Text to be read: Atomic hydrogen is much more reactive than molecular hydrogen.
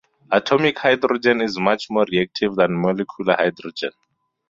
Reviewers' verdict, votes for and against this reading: rejected, 2, 2